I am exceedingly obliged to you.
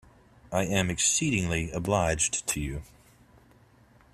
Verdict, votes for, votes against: accepted, 2, 0